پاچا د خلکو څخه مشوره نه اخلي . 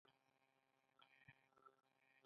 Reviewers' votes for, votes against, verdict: 0, 2, rejected